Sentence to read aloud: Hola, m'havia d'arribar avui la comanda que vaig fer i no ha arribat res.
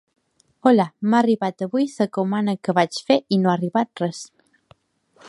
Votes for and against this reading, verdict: 0, 2, rejected